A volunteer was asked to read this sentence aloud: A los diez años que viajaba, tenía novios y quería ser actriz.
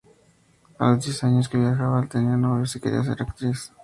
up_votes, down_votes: 2, 2